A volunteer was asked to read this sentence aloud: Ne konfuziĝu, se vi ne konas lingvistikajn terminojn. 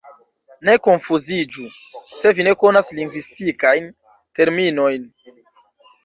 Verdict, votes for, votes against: accepted, 2, 0